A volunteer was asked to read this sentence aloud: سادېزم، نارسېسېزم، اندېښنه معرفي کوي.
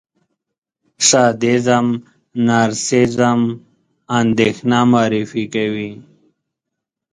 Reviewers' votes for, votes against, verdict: 2, 3, rejected